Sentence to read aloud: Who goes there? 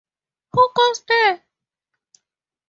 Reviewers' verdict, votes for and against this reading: accepted, 2, 0